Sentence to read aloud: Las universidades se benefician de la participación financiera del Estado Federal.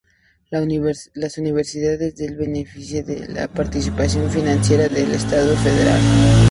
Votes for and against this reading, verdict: 0, 2, rejected